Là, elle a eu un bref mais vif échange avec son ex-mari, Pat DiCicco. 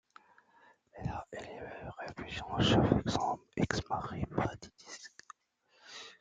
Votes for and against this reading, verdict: 0, 2, rejected